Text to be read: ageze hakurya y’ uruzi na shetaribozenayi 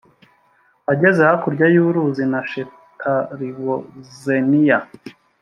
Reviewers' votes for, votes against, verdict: 1, 2, rejected